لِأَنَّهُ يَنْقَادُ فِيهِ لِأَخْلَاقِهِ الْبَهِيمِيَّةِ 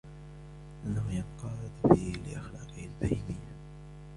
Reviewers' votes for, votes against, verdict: 2, 0, accepted